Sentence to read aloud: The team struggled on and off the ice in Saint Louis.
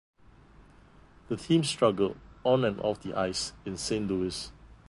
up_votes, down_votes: 1, 2